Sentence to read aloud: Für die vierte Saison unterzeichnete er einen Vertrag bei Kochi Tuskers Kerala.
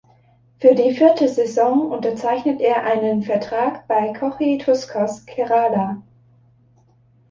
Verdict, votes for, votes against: rejected, 0, 2